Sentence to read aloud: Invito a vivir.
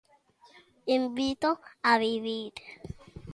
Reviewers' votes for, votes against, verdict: 2, 0, accepted